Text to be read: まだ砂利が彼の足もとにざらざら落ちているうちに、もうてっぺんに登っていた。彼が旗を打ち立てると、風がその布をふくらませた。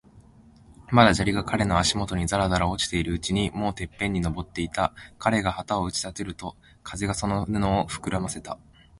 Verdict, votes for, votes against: accepted, 3, 0